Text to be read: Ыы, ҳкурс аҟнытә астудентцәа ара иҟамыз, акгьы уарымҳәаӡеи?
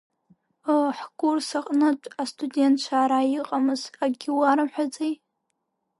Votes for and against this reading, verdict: 2, 0, accepted